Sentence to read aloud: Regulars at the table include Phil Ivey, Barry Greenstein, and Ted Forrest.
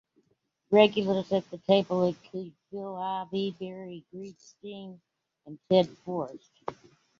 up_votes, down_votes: 2, 1